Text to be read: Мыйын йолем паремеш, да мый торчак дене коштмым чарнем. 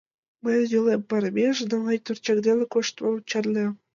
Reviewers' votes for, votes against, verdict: 2, 1, accepted